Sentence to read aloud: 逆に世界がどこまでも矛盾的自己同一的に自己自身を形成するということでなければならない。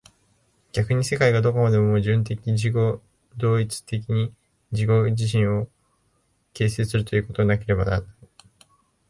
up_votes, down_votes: 1, 2